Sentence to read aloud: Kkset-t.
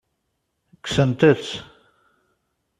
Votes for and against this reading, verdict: 1, 2, rejected